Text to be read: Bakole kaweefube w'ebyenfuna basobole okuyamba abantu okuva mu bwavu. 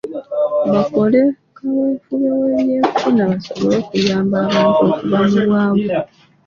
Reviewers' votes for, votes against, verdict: 0, 2, rejected